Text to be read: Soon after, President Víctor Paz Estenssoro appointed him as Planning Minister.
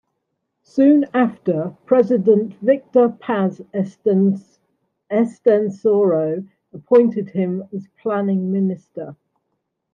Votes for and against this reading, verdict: 1, 2, rejected